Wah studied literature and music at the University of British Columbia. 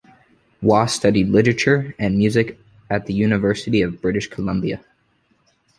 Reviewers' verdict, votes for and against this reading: accepted, 2, 0